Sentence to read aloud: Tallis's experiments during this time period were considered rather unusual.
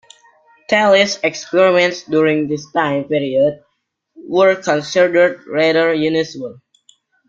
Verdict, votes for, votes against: rejected, 0, 2